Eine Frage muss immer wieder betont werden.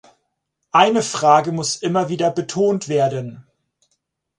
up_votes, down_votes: 4, 0